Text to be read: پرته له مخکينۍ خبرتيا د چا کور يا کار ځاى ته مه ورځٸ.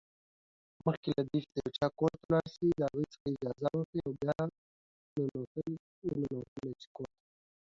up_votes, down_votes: 0, 2